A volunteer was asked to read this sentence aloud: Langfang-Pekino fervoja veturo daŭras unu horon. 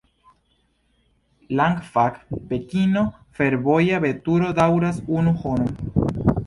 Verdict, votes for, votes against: accepted, 2, 0